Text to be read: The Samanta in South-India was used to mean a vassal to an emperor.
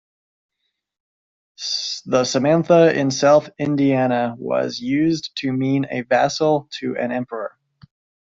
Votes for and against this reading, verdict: 0, 2, rejected